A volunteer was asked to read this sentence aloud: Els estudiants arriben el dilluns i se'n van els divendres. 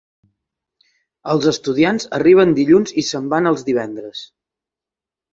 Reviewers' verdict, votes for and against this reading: rejected, 2, 3